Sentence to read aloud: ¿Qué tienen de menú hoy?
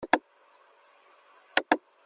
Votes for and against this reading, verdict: 0, 2, rejected